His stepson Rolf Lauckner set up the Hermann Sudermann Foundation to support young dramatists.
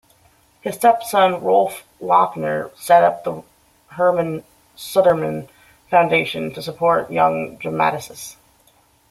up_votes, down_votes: 2, 1